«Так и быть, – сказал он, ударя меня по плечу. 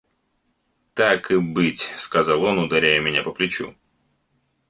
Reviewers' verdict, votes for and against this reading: rejected, 1, 2